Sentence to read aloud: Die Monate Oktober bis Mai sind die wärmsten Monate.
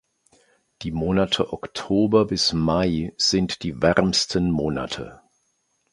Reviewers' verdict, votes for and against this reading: accepted, 2, 0